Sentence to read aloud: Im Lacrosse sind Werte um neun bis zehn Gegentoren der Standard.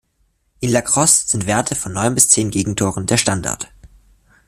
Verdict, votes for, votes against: rejected, 1, 2